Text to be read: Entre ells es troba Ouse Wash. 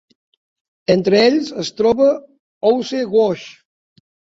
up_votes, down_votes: 3, 0